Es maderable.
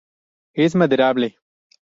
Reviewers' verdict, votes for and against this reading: accepted, 2, 0